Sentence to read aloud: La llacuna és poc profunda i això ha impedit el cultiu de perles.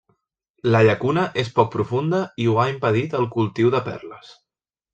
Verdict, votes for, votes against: rejected, 0, 2